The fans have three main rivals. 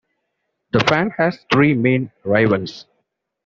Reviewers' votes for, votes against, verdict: 1, 2, rejected